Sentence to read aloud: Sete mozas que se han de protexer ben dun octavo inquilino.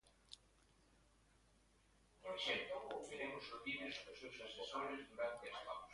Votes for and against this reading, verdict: 0, 2, rejected